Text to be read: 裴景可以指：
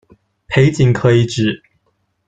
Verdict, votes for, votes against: accepted, 2, 0